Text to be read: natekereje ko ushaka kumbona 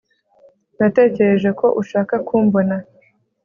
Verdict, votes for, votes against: accepted, 3, 1